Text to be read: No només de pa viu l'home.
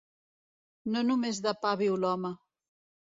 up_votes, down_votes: 2, 0